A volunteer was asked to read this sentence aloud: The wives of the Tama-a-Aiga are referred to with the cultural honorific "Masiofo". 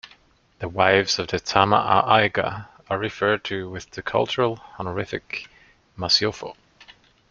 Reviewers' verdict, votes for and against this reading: accepted, 2, 0